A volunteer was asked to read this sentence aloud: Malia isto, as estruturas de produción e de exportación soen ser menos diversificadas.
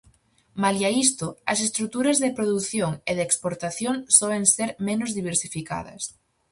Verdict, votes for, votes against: accepted, 4, 0